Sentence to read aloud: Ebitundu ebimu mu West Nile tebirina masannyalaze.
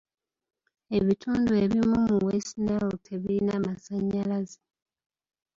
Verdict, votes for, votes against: accepted, 2, 1